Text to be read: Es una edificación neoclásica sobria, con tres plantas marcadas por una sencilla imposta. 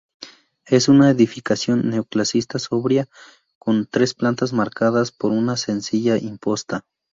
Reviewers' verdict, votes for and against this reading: rejected, 0, 2